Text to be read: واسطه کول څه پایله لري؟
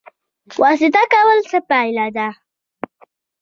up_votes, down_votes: 1, 2